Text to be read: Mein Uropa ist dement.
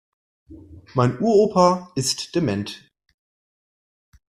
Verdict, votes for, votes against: accepted, 2, 0